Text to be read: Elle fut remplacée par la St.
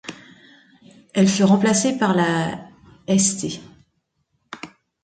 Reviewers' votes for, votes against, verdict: 2, 0, accepted